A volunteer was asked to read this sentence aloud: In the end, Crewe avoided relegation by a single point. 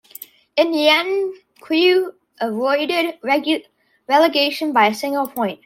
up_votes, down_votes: 0, 2